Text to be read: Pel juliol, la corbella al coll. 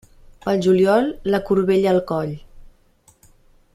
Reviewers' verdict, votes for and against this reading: accepted, 2, 0